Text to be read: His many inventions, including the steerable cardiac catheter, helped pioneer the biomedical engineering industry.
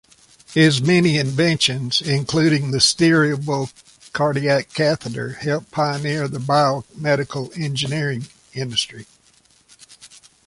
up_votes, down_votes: 2, 1